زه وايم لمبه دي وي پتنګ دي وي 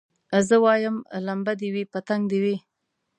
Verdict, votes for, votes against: accepted, 2, 0